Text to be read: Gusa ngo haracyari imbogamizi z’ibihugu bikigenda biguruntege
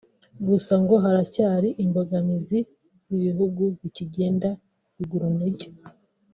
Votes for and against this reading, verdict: 0, 2, rejected